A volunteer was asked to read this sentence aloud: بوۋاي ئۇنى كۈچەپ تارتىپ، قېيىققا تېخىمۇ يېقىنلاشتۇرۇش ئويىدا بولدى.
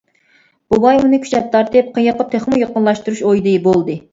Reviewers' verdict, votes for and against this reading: rejected, 1, 2